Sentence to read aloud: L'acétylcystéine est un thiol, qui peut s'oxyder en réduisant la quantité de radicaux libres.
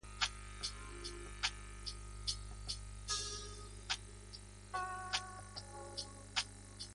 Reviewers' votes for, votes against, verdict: 0, 2, rejected